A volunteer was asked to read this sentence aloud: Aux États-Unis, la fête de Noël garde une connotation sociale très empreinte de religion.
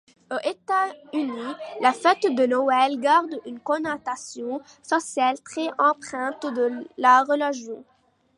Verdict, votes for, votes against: rejected, 0, 2